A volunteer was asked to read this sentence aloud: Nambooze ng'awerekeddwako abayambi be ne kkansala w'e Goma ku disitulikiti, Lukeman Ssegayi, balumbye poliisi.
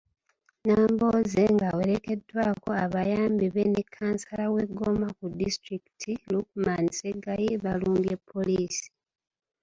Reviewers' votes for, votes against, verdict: 0, 2, rejected